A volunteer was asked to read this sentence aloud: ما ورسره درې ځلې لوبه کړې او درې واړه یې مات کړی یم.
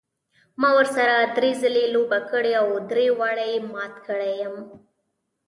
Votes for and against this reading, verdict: 0, 2, rejected